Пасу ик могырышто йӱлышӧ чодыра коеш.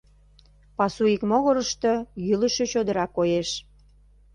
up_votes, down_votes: 2, 0